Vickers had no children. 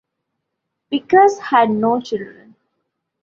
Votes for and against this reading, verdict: 0, 2, rejected